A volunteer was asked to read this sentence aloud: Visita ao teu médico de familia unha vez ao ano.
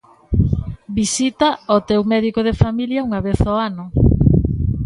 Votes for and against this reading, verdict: 1, 2, rejected